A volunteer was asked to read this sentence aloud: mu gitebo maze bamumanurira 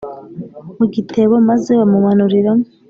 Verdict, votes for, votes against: rejected, 1, 2